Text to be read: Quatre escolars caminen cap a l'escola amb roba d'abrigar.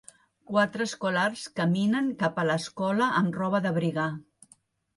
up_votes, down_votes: 2, 0